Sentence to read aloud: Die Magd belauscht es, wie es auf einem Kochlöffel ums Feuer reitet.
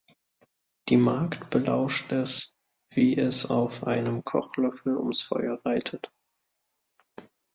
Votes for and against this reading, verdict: 2, 1, accepted